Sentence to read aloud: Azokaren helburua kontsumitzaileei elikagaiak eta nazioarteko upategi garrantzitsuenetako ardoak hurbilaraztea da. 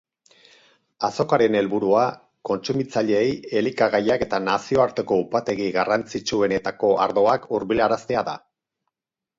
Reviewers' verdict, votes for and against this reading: accepted, 4, 0